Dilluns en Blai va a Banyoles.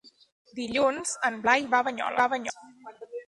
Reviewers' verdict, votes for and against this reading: rejected, 0, 2